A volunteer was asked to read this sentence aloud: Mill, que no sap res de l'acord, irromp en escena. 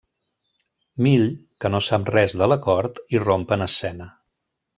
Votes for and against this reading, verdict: 2, 0, accepted